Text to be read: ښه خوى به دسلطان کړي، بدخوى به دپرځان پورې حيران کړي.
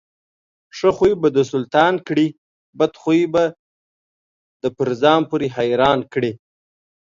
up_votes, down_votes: 2, 0